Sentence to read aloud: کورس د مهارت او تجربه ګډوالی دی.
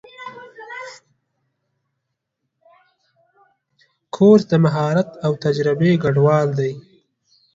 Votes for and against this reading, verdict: 0, 2, rejected